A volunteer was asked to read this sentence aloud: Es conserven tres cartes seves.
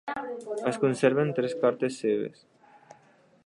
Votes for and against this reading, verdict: 3, 0, accepted